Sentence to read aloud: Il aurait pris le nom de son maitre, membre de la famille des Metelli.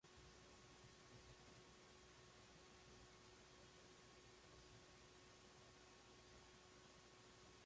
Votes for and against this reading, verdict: 0, 2, rejected